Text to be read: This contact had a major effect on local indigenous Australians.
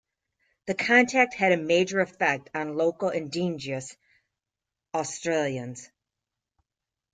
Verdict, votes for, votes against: rejected, 0, 2